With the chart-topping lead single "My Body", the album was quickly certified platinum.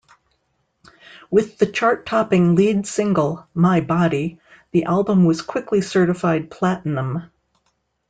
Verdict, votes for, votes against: accepted, 2, 1